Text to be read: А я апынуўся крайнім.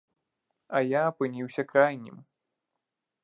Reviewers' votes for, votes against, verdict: 0, 2, rejected